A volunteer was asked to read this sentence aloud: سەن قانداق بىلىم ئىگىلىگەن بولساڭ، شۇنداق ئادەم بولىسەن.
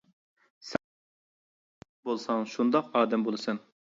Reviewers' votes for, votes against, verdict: 0, 2, rejected